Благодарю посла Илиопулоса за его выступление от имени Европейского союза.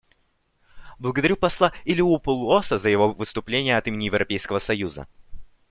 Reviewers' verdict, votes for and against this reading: accepted, 2, 0